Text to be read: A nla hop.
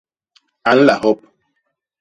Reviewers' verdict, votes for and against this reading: accepted, 2, 0